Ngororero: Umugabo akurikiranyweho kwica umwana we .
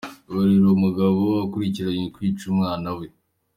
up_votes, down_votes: 2, 0